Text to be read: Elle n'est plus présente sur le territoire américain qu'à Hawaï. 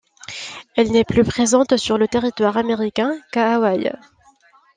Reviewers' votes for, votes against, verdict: 2, 0, accepted